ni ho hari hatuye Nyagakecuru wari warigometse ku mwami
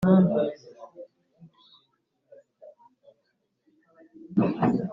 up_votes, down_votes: 0, 3